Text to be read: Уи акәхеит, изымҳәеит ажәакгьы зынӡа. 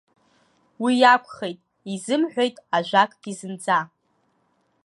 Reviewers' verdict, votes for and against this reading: rejected, 1, 2